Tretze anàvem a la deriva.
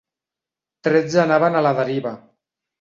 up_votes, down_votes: 1, 2